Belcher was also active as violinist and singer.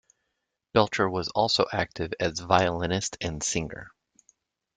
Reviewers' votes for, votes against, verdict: 2, 0, accepted